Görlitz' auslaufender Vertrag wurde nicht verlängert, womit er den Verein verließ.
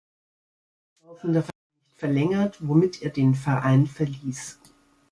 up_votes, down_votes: 0, 2